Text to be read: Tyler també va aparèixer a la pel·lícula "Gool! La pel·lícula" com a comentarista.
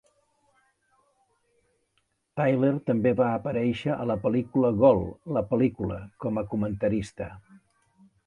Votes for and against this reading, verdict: 2, 0, accepted